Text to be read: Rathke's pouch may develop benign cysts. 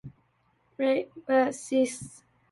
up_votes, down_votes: 0, 2